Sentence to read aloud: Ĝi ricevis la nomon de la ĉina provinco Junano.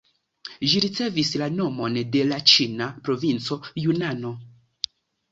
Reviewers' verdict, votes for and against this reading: accepted, 2, 0